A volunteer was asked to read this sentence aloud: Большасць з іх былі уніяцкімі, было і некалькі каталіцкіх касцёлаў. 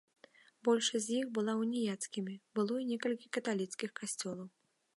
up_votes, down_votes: 0, 2